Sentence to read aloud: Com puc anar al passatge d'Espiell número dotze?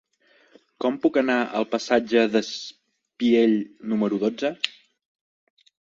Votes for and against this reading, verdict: 0, 2, rejected